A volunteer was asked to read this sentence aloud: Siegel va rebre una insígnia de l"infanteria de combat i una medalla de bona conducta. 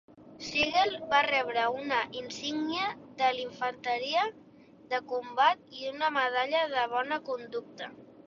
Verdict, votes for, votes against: accepted, 2, 0